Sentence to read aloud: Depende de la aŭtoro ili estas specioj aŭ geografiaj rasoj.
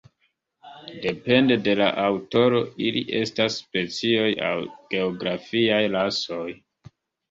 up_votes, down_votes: 3, 1